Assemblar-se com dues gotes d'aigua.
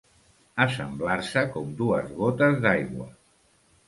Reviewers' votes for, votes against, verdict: 2, 0, accepted